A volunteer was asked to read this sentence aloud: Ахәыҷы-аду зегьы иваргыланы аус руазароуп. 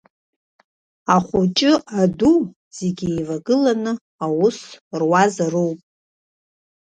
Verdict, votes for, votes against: rejected, 0, 2